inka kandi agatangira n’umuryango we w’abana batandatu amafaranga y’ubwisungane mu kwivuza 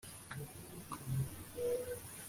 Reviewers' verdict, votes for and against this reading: rejected, 0, 2